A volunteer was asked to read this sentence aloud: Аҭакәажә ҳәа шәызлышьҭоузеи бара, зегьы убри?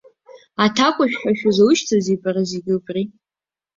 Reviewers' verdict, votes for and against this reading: rejected, 1, 2